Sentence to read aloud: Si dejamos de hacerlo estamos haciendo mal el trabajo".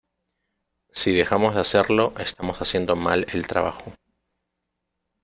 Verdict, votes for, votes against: accepted, 2, 0